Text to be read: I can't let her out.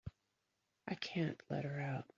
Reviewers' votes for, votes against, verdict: 2, 0, accepted